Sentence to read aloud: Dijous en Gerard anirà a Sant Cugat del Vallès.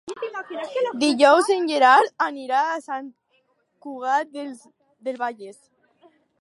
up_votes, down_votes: 2, 4